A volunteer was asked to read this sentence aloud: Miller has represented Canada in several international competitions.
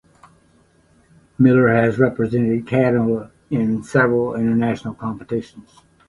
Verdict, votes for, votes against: accepted, 3, 0